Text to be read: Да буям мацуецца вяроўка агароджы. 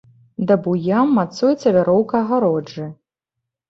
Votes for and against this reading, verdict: 2, 0, accepted